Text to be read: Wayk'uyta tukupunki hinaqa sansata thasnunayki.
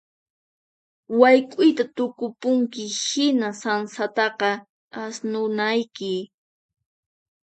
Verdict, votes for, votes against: rejected, 0, 4